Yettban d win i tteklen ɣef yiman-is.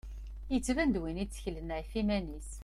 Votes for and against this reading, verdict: 2, 0, accepted